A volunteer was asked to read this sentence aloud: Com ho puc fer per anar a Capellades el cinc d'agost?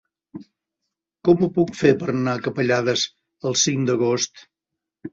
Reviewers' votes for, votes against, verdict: 1, 2, rejected